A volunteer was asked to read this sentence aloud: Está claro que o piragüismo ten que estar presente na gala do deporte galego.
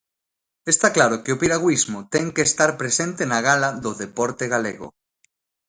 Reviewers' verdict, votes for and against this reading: accepted, 2, 0